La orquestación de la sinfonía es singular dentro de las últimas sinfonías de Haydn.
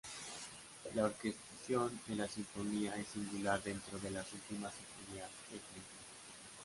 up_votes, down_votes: 0, 2